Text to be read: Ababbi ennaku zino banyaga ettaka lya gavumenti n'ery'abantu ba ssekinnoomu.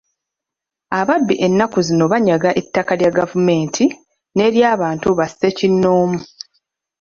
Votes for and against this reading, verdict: 2, 0, accepted